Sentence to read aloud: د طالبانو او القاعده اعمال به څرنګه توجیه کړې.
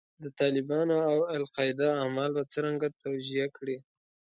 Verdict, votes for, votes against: accepted, 2, 0